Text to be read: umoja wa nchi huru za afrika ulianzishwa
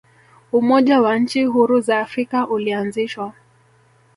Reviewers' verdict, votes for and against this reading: rejected, 1, 2